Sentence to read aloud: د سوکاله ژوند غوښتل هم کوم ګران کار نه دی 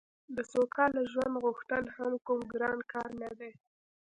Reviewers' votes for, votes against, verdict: 2, 1, accepted